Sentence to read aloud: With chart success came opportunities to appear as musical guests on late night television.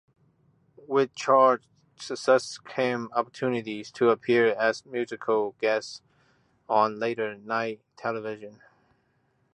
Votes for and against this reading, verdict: 2, 1, accepted